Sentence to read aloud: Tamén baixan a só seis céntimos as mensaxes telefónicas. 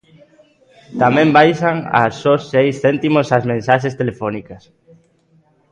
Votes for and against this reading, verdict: 2, 0, accepted